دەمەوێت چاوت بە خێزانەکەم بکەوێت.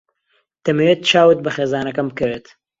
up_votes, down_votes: 2, 0